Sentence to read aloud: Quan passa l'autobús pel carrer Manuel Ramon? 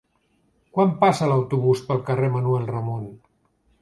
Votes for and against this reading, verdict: 3, 0, accepted